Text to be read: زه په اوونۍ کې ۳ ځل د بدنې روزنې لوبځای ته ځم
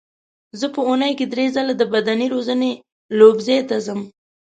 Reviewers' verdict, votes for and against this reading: rejected, 0, 2